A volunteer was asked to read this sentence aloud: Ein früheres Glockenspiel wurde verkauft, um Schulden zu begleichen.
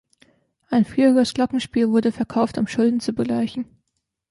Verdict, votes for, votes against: accepted, 2, 1